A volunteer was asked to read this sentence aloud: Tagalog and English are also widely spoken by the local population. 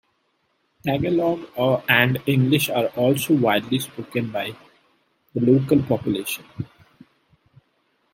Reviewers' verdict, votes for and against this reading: rejected, 0, 2